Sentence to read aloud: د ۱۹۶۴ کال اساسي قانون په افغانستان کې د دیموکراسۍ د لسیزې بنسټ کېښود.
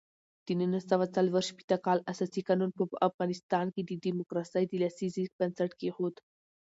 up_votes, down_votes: 0, 2